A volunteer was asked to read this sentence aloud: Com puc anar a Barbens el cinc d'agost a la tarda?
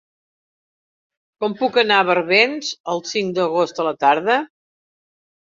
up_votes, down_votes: 3, 0